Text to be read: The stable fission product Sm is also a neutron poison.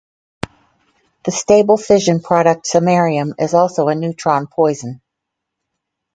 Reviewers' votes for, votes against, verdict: 0, 2, rejected